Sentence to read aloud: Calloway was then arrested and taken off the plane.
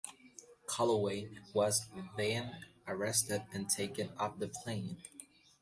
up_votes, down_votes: 2, 0